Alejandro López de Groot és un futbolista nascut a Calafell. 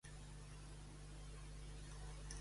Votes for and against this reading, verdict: 0, 2, rejected